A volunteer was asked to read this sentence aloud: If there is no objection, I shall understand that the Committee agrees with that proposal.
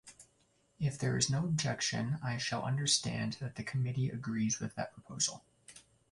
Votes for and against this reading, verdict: 0, 2, rejected